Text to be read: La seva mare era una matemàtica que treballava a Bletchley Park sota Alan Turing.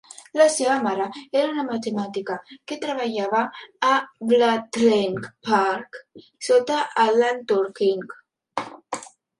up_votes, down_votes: 0, 3